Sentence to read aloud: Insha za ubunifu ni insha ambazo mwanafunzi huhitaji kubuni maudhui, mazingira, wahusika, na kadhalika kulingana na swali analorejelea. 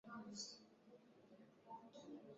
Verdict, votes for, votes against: rejected, 1, 9